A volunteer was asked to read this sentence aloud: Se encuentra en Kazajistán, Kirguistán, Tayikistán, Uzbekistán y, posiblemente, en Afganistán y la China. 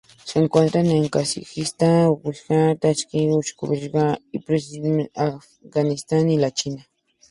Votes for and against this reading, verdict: 0, 2, rejected